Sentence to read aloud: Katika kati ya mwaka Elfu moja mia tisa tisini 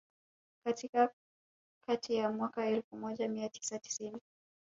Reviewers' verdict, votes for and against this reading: rejected, 0, 2